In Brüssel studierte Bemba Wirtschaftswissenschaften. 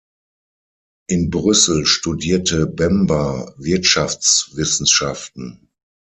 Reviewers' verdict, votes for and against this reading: accepted, 6, 0